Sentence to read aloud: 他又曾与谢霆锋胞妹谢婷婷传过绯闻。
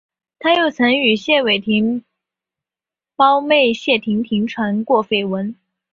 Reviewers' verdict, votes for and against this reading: rejected, 1, 2